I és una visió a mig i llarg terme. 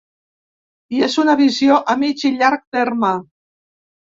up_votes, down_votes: 2, 0